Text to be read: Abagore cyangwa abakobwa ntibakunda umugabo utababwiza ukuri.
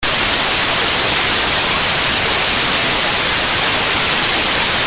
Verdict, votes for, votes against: rejected, 0, 2